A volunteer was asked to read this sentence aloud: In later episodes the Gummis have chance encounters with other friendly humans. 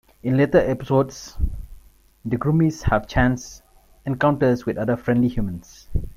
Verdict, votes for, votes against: rejected, 0, 2